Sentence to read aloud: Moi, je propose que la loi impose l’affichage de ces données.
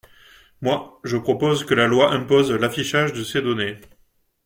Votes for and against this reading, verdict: 2, 0, accepted